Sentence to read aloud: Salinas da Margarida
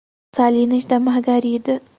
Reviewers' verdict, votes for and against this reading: rejected, 2, 2